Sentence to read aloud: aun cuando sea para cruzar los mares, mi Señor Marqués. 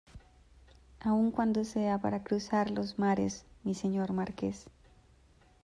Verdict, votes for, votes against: accepted, 2, 0